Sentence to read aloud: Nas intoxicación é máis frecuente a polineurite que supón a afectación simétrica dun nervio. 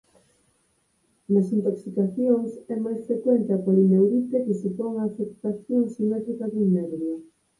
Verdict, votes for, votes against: rejected, 2, 2